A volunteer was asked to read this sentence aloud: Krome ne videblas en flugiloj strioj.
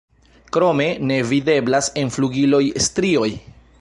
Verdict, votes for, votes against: accepted, 2, 0